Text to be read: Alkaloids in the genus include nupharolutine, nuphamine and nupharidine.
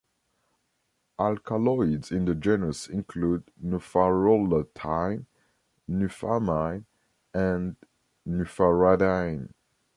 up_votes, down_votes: 2, 1